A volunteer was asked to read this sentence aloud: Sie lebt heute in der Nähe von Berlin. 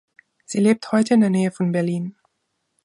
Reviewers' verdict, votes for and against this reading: accepted, 2, 0